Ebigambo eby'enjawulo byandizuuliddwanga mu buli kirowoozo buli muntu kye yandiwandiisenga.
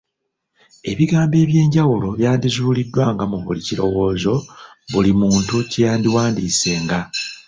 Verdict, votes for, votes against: accepted, 2, 0